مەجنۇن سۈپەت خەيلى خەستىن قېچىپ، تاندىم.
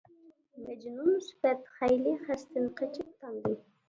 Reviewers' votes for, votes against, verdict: 0, 2, rejected